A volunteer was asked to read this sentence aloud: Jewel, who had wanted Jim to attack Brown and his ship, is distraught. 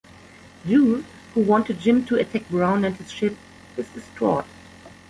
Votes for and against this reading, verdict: 0, 2, rejected